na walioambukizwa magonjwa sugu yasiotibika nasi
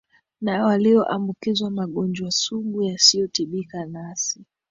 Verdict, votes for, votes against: accepted, 2, 1